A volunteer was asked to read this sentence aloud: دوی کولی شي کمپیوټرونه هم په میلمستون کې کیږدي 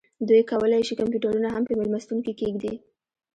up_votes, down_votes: 2, 1